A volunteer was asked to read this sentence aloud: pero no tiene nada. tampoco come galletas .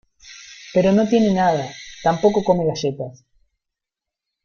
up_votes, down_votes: 1, 2